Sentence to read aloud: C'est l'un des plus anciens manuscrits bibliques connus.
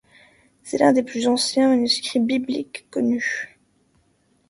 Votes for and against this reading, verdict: 2, 0, accepted